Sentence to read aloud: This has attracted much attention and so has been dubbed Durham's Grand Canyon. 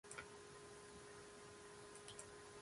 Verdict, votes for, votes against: rejected, 0, 2